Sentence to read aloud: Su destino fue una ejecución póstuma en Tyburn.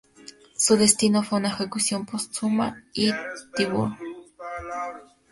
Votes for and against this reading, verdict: 0, 2, rejected